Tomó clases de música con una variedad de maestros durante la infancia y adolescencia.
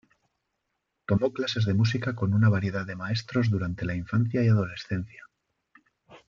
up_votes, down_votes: 2, 0